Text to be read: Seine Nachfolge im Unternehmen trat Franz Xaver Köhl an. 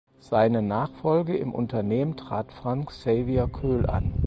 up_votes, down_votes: 2, 4